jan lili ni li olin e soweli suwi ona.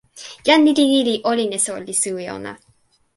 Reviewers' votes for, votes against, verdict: 0, 2, rejected